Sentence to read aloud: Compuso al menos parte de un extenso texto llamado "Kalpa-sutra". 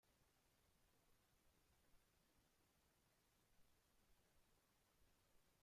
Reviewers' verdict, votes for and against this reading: rejected, 0, 2